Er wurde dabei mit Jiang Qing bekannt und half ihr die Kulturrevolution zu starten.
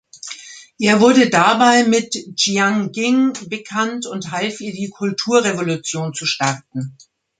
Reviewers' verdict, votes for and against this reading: accepted, 2, 1